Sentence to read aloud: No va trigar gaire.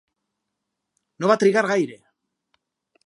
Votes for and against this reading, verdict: 4, 0, accepted